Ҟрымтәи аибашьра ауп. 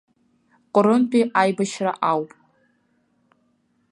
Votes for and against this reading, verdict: 2, 3, rejected